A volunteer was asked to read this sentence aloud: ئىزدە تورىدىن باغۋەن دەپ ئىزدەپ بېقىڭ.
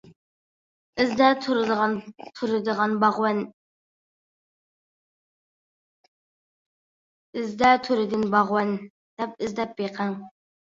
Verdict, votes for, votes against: rejected, 0, 2